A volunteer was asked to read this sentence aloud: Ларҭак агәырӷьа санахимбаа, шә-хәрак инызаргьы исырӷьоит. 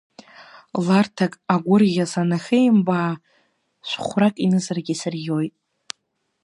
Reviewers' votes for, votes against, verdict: 2, 0, accepted